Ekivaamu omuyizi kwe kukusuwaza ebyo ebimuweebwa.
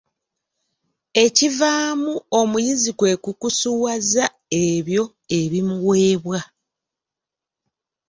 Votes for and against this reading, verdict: 2, 0, accepted